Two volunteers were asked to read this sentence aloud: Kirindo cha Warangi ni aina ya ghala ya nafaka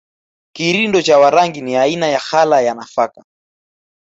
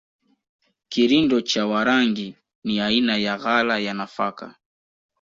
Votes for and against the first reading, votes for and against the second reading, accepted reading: 2, 0, 0, 2, first